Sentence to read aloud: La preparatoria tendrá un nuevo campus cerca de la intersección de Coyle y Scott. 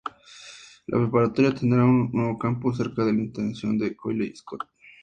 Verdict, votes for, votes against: accepted, 2, 0